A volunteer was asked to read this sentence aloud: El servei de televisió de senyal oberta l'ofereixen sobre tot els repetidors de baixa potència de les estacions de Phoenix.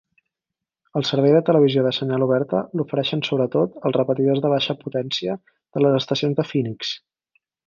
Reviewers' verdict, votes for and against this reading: accepted, 4, 0